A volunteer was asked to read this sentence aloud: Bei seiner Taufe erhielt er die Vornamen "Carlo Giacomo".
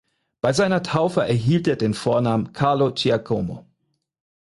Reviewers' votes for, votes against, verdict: 2, 4, rejected